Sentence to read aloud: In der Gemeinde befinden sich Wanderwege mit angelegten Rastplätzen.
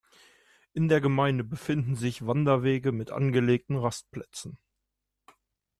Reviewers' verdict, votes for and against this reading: accepted, 2, 0